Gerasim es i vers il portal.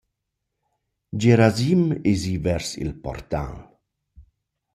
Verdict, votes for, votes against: accepted, 2, 0